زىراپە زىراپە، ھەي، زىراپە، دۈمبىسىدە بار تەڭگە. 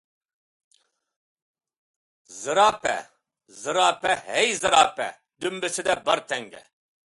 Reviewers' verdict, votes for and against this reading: accepted, 2, 0